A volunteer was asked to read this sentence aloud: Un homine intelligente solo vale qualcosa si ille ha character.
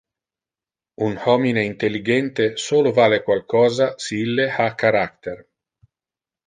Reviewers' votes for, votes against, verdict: 2, 0, accepted